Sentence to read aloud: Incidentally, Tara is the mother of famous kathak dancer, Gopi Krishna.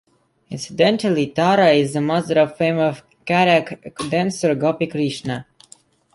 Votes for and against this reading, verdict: 0, 2, rejected